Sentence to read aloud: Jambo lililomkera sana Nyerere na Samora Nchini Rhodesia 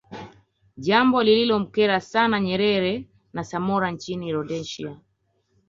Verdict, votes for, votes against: accepted, 3, 0